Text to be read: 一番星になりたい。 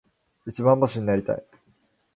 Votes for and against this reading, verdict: 4, 0, accepted